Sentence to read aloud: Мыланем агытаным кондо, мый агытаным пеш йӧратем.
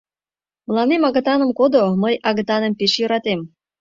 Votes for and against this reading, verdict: 0, 2, rejected